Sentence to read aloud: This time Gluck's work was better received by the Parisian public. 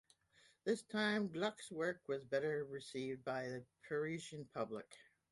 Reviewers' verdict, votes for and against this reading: accepted, 2, 0